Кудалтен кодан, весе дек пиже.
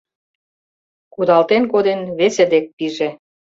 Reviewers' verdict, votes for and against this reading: rejected, 1, 2